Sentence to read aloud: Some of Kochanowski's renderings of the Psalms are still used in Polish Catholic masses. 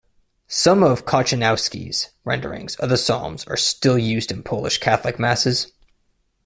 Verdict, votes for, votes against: accepted, 2, 0